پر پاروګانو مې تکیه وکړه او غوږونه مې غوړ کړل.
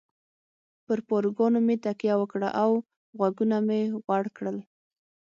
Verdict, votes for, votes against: accepted, 6, 0